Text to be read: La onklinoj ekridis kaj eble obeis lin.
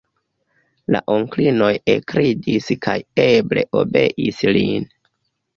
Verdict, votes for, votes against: accepted, 2, 0